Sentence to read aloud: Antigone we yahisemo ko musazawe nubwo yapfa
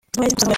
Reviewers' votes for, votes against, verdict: 0, 2, rejected